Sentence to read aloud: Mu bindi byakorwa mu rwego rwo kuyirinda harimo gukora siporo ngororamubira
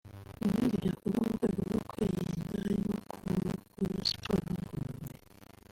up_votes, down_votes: 0, 2